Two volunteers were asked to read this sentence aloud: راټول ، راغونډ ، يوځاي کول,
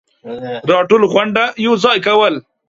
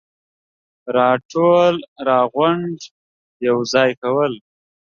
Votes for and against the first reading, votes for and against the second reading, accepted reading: 1, 2, 2, 0, second